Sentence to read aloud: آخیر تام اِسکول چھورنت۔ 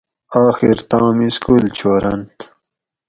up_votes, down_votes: 2, 2